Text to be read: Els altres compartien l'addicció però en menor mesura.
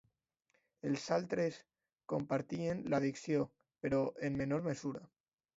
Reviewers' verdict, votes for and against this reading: accepted, 3, 0